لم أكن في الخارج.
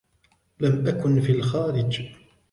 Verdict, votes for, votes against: accepted, 2, 1